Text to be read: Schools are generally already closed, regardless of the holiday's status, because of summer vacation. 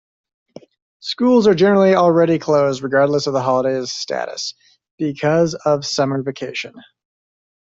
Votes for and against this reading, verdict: 2, 0, accepted